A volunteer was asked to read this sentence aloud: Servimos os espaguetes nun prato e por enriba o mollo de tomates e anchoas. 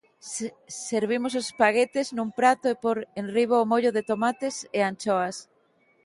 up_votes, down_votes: 0, 2